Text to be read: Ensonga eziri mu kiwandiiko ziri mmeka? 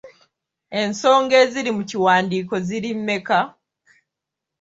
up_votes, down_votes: 2, 0